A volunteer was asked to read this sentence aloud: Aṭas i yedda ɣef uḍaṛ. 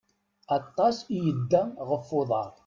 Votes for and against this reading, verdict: 2, 0, accepted